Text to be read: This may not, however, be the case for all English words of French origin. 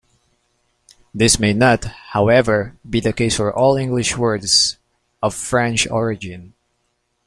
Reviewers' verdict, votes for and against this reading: accepted, 2, 0